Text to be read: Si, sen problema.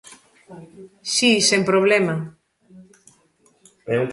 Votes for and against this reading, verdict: 0, 2, rejected